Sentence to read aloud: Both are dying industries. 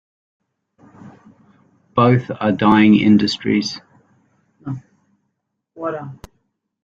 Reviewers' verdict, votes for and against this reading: accepted, 2, 0